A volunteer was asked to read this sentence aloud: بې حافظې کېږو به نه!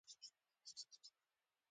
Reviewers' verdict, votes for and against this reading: rejected, 1, 2